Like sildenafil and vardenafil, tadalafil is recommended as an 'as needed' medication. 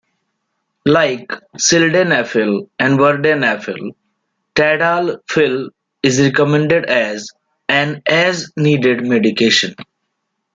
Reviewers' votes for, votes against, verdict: 2, 0, accepted